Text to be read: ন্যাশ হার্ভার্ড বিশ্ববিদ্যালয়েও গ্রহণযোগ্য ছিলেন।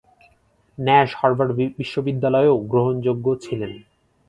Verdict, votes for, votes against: accepted, 4, 0